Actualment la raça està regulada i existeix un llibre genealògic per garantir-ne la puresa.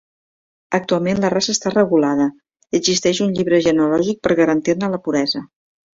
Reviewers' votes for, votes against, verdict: 2, 0, accepted